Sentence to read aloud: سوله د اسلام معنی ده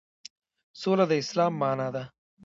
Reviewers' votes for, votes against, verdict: 2, 1, accepted